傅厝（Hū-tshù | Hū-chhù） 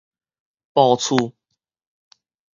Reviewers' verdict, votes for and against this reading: rejected, 2, 2